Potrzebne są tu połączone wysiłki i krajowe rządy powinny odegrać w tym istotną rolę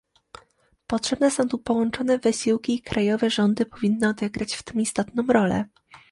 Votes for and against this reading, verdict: 2, 0, accepted